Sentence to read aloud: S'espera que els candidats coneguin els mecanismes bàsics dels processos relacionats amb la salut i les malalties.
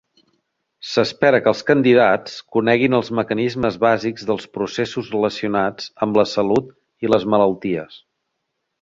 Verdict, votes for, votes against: rejected, 1, 2